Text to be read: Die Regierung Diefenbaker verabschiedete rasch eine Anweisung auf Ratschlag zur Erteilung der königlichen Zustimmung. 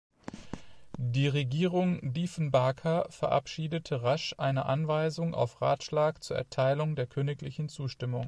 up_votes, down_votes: 2, 0